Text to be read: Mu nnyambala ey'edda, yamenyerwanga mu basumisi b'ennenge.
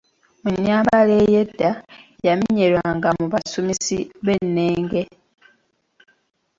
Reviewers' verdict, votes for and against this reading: accepted, 2, 1